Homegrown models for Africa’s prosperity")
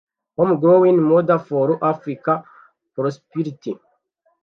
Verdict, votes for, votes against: rejected, 0, 2